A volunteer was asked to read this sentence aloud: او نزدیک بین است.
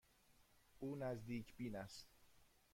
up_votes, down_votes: 2, 0